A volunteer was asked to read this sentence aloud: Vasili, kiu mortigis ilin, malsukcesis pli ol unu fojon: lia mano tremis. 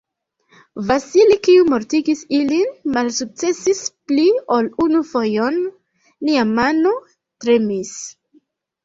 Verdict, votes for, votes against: accepted, 2, 1